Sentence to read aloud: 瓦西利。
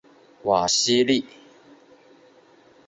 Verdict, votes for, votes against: accepted, 4, 0